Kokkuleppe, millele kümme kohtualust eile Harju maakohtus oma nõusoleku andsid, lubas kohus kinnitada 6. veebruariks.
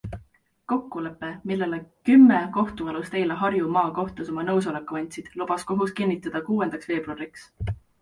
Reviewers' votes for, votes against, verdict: 0, 2, rejected